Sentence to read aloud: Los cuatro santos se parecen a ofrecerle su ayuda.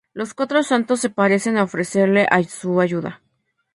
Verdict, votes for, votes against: rejected, 0, 2